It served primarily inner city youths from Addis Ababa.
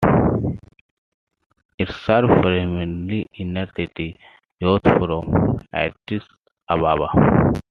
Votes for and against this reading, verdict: 2, 1, accepted